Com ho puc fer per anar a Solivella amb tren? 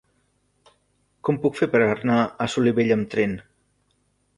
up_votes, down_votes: 1, 2